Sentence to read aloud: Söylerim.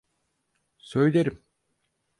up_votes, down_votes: 4, 0